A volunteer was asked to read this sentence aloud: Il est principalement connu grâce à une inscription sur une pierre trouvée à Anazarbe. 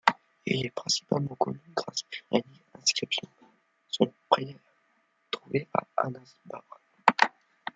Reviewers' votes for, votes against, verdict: 0, 2, rejected